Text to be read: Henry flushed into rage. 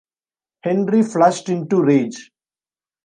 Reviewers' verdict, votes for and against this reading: accepted, 2, 0